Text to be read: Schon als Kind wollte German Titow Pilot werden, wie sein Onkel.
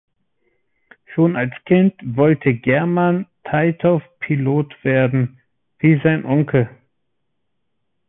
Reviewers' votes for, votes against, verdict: 1, 2, rejected